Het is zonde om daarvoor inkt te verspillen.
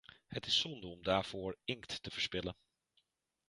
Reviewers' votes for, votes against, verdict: 0, 2, rejected